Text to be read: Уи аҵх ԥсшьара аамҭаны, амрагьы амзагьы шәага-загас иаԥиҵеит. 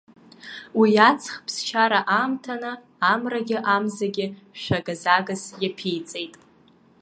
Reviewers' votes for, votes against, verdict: 2, 1, accepted